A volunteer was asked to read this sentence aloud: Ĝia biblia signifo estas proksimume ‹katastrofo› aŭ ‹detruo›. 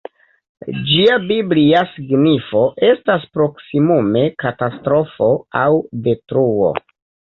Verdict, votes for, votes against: rejected, 1, 2